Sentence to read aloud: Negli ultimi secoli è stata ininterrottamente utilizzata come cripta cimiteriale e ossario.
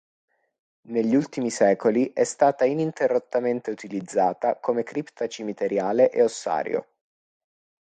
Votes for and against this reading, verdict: 2, 0, accepted